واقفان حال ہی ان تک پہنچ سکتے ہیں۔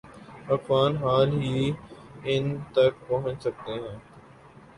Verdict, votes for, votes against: accepted, 13, 0